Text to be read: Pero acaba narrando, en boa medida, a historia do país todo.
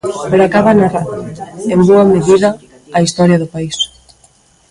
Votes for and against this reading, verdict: 1, 2, rejected